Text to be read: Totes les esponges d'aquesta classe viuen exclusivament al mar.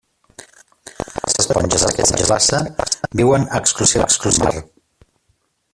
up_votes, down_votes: 0, 2